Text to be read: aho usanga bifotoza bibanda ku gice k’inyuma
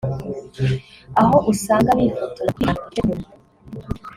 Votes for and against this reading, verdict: 1, 2, rejected